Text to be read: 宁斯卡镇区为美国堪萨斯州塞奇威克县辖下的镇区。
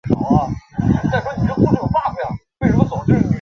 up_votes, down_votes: 0, 2